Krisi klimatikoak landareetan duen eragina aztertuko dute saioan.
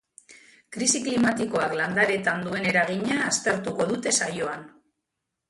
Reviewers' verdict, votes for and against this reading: rejected, 1, 2